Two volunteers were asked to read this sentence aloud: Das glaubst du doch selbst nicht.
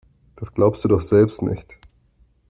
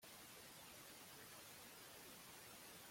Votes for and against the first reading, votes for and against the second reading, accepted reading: 2, 0, 0, 2, first